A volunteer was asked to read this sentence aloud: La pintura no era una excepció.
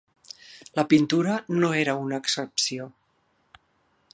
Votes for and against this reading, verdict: 3, 0, accepted